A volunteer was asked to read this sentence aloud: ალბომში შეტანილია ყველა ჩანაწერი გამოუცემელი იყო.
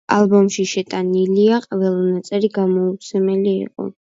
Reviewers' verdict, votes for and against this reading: rejected, 1, 2